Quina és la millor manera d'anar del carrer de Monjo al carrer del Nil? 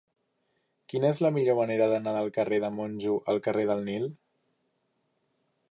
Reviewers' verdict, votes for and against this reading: accepted, 3, 0